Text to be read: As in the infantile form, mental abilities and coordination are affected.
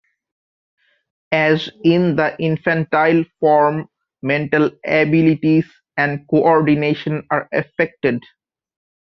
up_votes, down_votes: 2, 0